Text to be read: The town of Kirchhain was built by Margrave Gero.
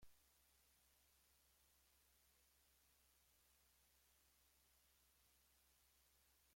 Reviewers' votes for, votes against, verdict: 1, 2, rejected